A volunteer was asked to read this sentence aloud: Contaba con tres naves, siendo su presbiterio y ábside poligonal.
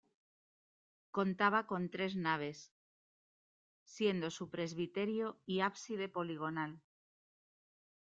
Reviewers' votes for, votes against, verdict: 2, 0, accepted